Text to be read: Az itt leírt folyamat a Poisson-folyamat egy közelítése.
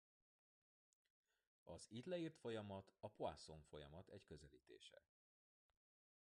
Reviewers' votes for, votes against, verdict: 1, 2, rejected